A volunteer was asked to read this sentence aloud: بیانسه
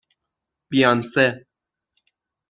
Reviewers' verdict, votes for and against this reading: accepted, 6, 0